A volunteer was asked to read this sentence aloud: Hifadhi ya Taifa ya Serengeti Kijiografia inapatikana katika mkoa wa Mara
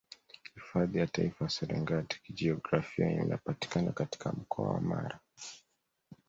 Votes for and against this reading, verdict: 2, 0, accepted